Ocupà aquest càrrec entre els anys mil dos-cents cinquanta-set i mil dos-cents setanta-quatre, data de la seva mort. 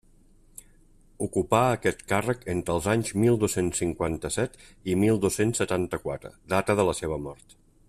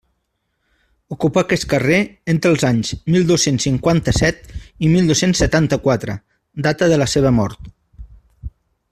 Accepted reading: first